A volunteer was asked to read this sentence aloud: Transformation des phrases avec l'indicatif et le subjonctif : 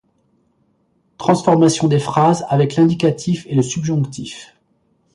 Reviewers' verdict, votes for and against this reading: accepted, 2, 0